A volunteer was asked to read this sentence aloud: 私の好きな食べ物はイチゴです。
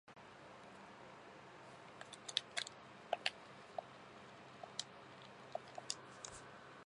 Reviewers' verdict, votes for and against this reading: rejected, 0, 2